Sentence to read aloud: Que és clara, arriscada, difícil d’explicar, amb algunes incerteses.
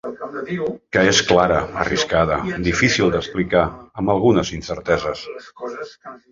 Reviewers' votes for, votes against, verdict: 2, 3, rejected